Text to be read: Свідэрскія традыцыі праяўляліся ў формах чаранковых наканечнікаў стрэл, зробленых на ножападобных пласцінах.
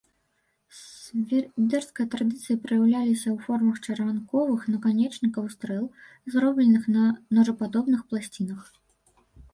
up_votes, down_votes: 1, 2